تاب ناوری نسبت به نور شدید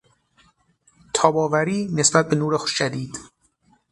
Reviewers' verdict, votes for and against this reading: rejected, 0, 6